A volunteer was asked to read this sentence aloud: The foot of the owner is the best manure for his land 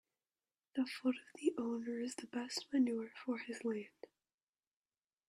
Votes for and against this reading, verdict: 2, 0, accepted